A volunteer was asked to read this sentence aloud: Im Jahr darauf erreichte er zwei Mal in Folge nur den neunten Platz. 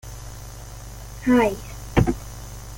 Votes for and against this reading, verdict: 0, 2, rejected